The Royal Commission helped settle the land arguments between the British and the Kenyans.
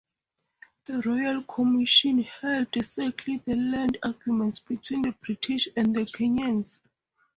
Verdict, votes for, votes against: rejected, 2, 2